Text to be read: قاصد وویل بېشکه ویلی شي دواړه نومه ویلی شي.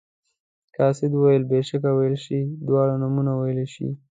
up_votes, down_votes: 2, 0